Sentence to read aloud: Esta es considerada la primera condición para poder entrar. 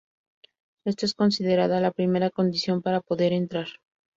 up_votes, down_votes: 2, 0